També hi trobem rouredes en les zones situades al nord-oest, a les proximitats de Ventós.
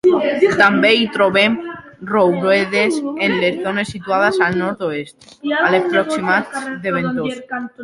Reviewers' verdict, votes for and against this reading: rejected, 0, 2